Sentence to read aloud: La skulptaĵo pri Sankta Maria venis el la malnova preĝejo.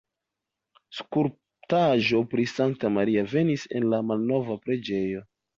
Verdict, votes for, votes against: rejected, 1, 2